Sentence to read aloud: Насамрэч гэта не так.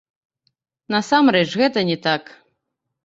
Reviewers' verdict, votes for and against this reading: rejected, 1, 2